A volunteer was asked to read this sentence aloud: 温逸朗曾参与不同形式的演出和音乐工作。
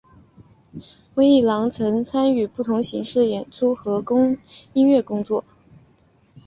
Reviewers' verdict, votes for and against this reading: accepted, 3, 0